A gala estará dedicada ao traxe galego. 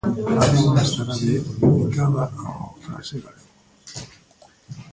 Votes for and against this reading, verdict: 0, 2, rejected